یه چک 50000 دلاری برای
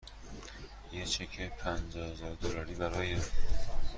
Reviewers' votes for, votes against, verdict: 0, 2, rejected